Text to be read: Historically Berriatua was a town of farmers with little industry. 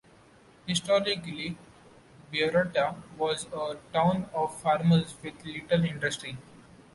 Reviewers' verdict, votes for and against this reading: accepted, 2, 0